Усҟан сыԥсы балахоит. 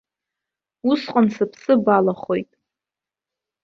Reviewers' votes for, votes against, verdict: 2, 0, accepted